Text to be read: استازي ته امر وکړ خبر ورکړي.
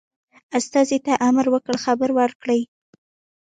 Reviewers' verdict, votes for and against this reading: accepted, 2, 0